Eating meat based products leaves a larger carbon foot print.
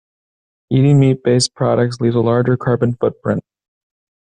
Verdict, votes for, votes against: accepted, 2, 0